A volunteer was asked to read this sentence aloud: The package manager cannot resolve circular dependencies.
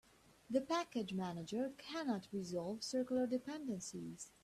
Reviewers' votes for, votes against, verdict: 2, 0, accepted